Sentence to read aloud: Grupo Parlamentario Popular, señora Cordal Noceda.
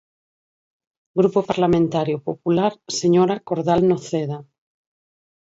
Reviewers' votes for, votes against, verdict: 4, 0, accepted